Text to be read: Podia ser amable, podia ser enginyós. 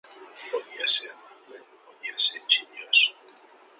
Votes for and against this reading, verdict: 0, 2, rejected